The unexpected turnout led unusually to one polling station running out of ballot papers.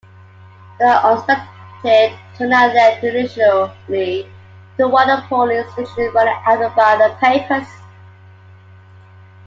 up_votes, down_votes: 2, 0